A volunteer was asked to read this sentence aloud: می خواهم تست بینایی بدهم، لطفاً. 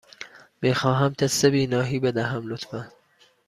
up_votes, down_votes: 2, 0